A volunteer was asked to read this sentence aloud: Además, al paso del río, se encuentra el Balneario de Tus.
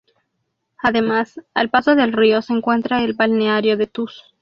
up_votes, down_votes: 2, 0